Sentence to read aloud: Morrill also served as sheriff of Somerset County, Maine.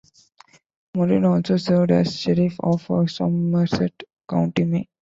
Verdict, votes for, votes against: accepted, 2, 1